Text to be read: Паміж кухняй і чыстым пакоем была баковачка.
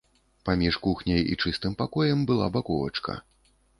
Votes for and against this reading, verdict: 2, 0, accepted